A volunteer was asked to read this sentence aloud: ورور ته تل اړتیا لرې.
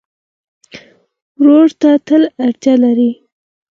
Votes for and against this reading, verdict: 4, 0, accepted